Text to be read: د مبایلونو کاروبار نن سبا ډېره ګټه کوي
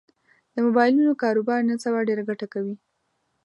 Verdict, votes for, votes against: accepted, 2, 0